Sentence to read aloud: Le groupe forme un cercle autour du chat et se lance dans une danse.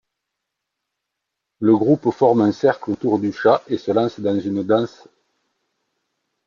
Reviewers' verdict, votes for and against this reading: accepted, 2, 0